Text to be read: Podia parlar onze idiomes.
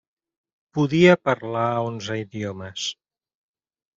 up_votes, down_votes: 3, 0